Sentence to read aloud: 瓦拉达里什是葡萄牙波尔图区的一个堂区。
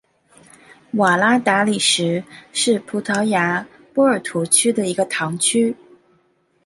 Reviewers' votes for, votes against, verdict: 2, 0, accepted